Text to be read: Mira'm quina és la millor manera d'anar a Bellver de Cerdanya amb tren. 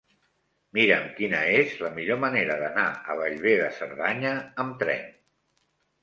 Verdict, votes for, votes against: accepted, 3, 0